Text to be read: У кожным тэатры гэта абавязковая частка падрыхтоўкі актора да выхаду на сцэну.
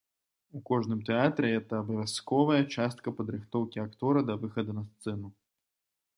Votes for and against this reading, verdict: 2, 0, accepted